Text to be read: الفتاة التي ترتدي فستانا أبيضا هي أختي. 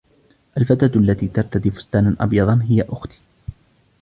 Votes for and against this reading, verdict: 1, 2, rejected